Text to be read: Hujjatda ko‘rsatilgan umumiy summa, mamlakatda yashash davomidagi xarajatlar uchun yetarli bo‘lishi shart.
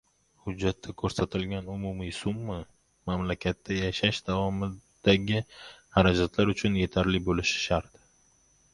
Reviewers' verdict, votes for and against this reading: rejected, 1, 2